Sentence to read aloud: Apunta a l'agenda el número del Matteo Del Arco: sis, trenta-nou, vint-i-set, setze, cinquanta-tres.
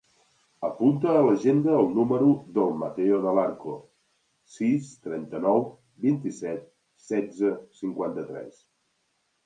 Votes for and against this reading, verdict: 2, 0, accepted